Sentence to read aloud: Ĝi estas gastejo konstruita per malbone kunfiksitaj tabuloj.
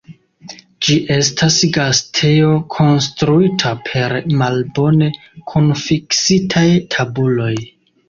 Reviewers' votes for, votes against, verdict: 2, 1, accepted